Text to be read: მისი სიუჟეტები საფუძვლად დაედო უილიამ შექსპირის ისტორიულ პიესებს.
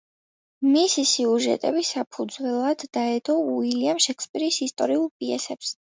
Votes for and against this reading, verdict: 1, 2, rejected